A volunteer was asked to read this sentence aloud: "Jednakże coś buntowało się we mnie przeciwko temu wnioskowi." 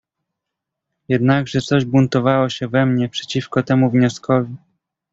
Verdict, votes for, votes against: accepted, 2, 0